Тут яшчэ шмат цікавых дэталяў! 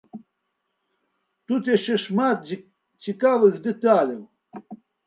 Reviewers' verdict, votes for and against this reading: rejected, 0, 2